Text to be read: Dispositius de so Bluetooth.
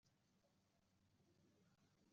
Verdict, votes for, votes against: rejected, 0, 2